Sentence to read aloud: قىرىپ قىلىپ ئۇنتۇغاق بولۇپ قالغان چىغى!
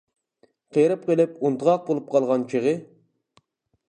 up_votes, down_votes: 1, 2